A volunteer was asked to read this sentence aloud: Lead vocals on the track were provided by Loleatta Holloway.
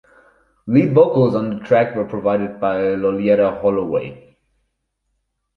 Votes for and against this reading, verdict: 4, 0, accepted